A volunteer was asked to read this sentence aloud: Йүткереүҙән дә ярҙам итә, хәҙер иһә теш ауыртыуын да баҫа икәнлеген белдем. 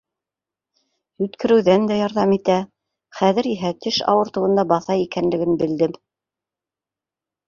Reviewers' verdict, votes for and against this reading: accepted, 3, 0